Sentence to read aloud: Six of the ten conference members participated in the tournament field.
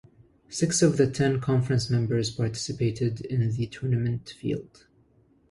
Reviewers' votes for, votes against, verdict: 2, 0, accepted